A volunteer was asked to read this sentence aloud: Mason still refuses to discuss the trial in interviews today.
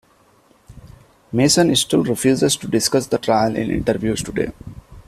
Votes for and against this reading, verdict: 1, 2, rejected